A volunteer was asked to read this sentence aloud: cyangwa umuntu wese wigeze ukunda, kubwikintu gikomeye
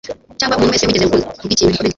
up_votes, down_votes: 2, 0